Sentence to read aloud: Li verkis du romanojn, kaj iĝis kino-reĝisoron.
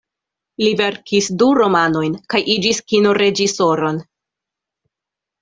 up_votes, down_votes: 2, 0